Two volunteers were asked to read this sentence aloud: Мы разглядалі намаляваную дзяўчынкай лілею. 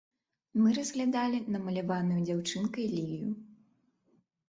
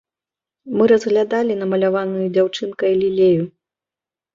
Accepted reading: second